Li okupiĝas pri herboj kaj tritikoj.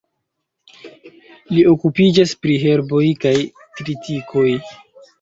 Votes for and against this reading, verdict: 2, 0, accepted